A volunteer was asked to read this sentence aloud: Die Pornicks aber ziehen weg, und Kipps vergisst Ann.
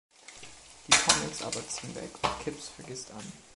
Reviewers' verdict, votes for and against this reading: rejected, 0, 2